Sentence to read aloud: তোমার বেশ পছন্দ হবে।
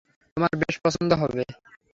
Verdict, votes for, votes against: rejected, 3, 3